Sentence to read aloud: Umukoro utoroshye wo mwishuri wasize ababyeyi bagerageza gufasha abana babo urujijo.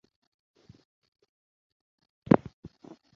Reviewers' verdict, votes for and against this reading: rejected, 0, 2